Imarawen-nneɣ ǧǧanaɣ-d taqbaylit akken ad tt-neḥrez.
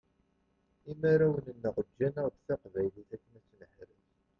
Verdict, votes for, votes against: rejected, 1, 2